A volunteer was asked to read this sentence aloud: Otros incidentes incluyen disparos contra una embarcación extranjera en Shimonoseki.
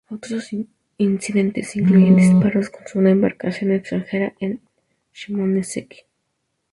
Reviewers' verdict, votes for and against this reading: rejected, 0, 2